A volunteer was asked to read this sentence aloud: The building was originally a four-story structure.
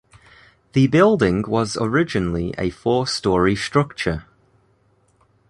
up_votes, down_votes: 2, 0